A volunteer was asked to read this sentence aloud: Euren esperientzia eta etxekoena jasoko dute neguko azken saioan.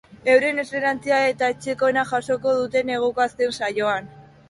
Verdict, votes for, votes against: rejected, 2, 2